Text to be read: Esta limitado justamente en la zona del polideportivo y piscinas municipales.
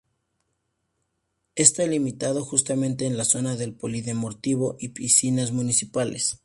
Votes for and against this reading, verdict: 2, 0, accepted